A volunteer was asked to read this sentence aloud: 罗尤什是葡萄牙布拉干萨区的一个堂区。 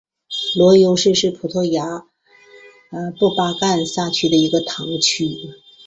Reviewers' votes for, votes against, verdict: 3, 0, accepted